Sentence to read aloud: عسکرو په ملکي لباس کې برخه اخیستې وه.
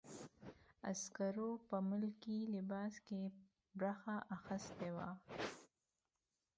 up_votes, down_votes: 1, 2